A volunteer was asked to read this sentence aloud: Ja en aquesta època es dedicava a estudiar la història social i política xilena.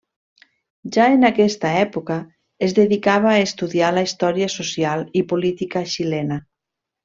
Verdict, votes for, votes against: accepted, 3, 0